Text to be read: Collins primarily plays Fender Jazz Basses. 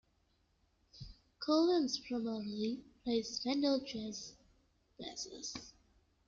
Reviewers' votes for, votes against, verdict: 2, 1, accepted